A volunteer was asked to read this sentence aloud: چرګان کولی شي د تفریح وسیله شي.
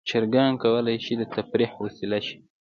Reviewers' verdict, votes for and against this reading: accepted, 2, 0